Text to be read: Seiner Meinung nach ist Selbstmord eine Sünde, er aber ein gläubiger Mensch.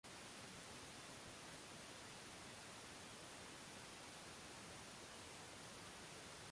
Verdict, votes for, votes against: rejected, 0, 2